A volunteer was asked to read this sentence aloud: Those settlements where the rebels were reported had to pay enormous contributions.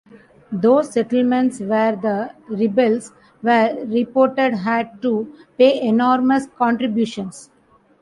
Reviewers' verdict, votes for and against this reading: accepted, 2, 0